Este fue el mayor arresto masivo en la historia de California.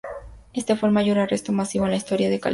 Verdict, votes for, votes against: rejected, 0, 4